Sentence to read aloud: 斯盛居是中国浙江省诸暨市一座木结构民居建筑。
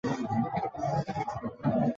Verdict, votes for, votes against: rejected, 0, 4